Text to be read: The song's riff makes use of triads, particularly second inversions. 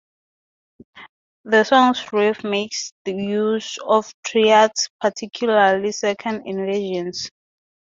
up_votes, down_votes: 0, 2